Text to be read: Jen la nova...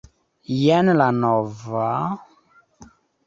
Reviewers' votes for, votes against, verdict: 2, 0, accepted